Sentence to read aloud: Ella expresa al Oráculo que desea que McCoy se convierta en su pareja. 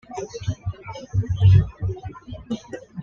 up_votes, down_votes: 1, 2